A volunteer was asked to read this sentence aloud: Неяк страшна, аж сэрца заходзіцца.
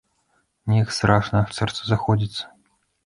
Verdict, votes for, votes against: rejected, 0, 2